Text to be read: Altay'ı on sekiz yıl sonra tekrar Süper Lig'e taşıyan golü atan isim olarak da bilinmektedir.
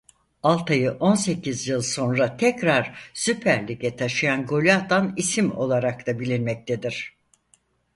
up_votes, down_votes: 4, 0